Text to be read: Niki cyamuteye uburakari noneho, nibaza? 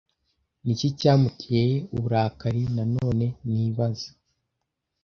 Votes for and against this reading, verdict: 0, 2, rejected